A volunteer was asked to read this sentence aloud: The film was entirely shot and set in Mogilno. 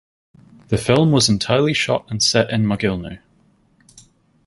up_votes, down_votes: 4, 0